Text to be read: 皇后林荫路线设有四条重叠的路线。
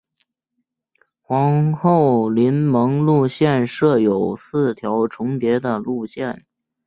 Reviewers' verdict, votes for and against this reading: rejected, 1, 2